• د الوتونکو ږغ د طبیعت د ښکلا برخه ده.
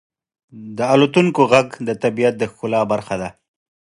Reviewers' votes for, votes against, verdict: 2, 1, accepted